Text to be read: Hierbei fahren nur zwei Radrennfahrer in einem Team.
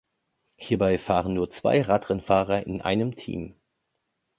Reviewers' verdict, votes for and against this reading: accepted, 2, 0